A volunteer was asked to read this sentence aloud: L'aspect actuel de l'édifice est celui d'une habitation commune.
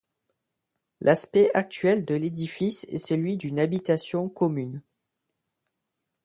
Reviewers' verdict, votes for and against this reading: accepted, 2, 0